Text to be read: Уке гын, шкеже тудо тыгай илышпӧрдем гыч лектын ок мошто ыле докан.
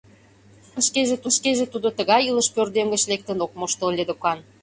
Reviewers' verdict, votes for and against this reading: rejected, 0, 2